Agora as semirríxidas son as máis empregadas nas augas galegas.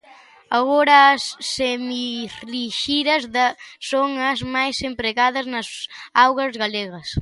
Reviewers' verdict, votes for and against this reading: rejected, 0, 2